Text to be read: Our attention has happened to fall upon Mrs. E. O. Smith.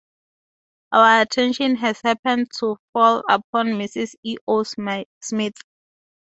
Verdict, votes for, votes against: rejected, 2, 2